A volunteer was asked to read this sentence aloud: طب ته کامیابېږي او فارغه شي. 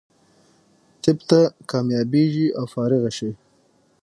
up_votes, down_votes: 6, 0